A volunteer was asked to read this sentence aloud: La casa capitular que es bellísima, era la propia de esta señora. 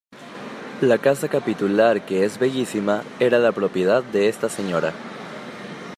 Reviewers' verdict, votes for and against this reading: rejected, 1, 2